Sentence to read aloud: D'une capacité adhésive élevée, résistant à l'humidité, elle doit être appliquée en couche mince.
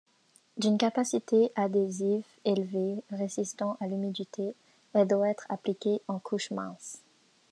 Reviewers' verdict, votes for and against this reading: accepted, 2, 0